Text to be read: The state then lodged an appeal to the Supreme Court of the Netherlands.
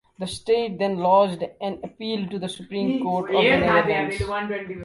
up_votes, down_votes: 0, 2